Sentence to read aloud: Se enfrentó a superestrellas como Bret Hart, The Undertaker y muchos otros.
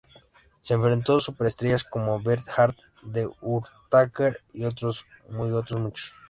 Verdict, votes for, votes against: rejected, 0, 2